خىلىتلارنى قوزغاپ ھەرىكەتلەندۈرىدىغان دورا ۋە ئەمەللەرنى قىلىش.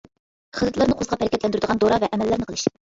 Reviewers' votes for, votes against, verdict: 0, 2, rejected